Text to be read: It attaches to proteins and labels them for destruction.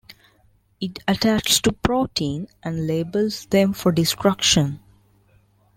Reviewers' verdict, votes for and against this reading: rejected, 1, 2